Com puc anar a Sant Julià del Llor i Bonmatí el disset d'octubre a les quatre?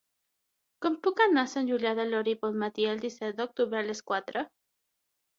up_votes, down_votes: 3, 6